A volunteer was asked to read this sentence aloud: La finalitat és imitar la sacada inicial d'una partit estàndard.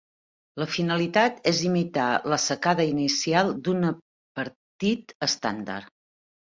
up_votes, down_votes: 1, 2